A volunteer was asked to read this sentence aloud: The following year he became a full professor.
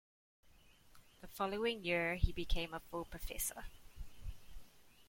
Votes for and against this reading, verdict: 2, 0, accepted